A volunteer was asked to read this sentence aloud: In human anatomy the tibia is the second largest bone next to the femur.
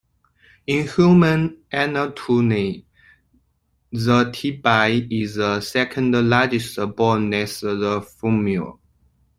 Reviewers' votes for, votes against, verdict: 0, 2, rejected